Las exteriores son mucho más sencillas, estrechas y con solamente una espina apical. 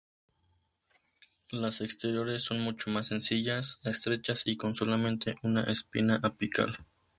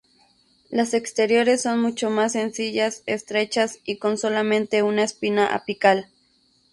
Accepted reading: first